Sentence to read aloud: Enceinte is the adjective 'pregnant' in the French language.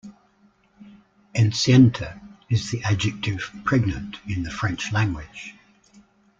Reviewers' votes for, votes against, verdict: 2, 0, accepted